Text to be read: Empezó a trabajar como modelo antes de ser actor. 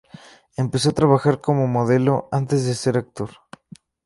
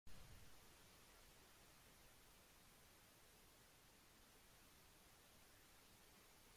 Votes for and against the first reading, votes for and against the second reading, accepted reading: 2, 0, 0, 2, first